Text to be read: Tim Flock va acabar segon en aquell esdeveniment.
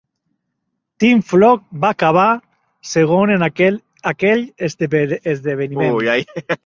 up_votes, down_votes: 0, 2